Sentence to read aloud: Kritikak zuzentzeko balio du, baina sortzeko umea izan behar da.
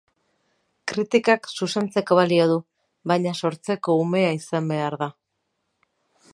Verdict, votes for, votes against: rejected, 0, 4